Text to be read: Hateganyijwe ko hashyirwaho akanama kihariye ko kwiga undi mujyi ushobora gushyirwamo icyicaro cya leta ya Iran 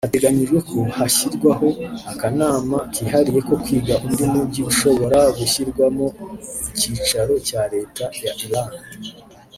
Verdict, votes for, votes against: rejected, 1, 2